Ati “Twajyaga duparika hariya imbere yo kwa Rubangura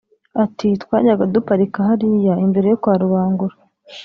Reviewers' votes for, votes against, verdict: 0, 2, rejected